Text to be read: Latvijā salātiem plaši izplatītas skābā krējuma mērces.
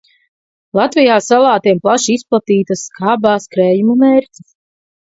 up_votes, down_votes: 0, 2